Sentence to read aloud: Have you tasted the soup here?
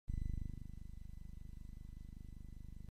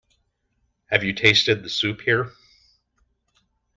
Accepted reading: second